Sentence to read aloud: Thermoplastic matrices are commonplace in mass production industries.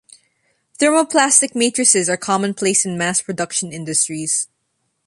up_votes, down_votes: 0, 2